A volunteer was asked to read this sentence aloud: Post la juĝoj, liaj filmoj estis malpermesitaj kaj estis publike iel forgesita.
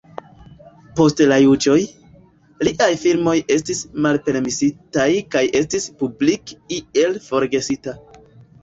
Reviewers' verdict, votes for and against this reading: rejected, 1, 2